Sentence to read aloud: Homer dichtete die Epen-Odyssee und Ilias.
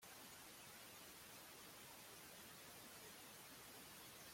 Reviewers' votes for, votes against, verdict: 0, 2, rejected